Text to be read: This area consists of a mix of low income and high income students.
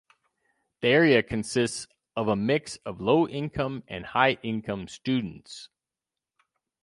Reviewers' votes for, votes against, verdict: 0, 4, rejected